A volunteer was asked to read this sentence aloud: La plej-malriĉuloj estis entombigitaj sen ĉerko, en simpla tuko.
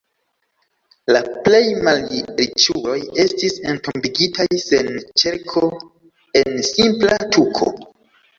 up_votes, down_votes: 0, 2